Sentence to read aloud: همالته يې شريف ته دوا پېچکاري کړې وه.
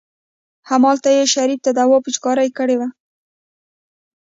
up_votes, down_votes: 1, 2